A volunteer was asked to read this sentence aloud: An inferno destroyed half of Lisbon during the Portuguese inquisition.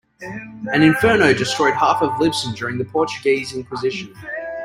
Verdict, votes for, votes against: rejected, 0, 2